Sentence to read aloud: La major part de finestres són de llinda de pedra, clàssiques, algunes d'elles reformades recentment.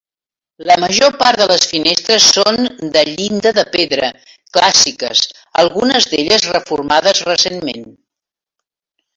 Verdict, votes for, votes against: accepted, 2, 1